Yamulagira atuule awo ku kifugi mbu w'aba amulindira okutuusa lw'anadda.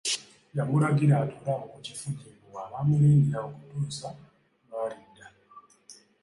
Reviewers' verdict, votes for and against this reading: rejected, 1, 2